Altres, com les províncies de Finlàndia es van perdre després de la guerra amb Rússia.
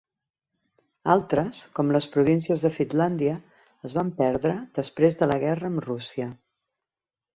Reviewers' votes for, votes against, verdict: 3, 1, accepted